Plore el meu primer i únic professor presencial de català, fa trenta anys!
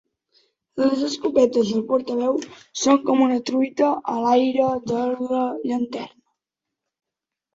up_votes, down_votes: 0, 2